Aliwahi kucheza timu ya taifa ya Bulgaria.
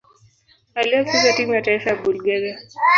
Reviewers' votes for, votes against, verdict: 2, 1, accepted